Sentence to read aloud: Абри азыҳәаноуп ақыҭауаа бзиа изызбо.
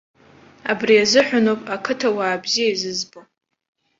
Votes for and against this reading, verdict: 2, 0, accepted